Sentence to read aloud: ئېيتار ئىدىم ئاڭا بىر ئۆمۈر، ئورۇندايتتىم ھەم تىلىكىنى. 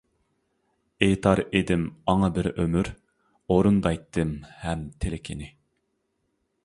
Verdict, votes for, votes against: accepted, 2, 0